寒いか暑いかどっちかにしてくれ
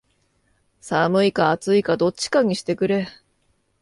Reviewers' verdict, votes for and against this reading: accepted, 2, 0